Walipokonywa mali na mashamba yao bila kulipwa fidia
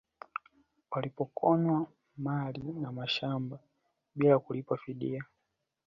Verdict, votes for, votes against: accepted, 2, 0